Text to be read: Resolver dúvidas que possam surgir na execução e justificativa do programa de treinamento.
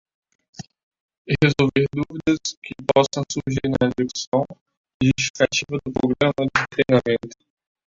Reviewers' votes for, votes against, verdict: 0, 2, rejected